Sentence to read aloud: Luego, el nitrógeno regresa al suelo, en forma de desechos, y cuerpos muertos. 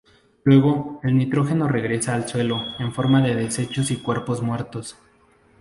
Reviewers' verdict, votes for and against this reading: accepted, 2, 0